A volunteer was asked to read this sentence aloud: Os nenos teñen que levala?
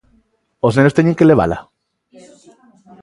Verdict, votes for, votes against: rejected, 1, 2